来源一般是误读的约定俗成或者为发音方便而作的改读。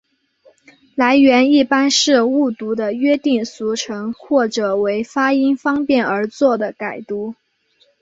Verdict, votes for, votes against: accepted, 2, 0